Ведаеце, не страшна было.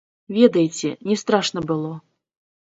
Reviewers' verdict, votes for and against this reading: rejected, 2, 3